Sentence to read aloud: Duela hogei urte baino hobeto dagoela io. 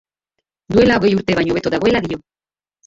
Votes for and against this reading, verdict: 0, 2, rejected